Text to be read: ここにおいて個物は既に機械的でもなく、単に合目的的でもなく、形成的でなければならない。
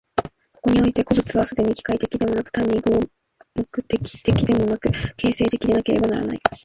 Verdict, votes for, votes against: accepted, 2, 0